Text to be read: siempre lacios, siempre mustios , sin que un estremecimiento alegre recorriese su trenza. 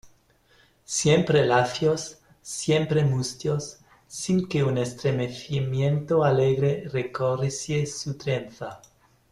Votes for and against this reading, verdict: 0, 2, rejected